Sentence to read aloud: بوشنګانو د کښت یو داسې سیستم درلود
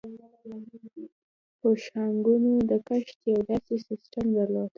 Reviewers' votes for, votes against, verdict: 0, 2, rejected